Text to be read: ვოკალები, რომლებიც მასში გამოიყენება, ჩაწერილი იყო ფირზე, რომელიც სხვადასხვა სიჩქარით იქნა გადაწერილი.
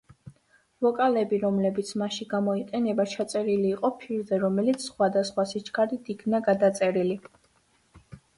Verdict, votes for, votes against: accepted, 2, 0